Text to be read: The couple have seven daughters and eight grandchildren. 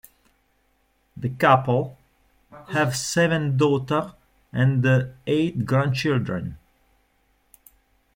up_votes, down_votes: 0, 2